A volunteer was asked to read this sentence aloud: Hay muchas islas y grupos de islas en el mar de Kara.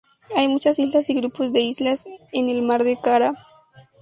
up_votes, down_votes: 0, 2